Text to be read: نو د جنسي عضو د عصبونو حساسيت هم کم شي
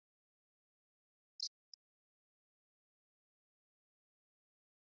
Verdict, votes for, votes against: rejected, 0, 2